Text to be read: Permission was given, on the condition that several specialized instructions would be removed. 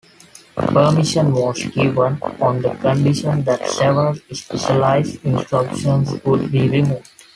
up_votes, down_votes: 2, 1